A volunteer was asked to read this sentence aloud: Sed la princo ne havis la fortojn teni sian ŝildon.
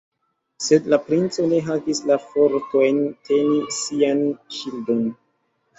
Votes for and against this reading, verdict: 2, 0, accepted